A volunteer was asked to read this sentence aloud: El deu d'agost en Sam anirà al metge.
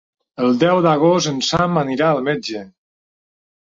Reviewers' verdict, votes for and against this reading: accepted, 3, 0